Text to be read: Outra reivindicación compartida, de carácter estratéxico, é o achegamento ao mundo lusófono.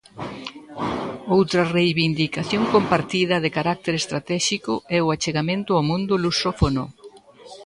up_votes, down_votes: 1, 2